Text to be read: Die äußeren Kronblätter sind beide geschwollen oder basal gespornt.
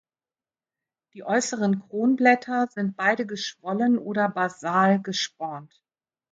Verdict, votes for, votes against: accepted, 2, 0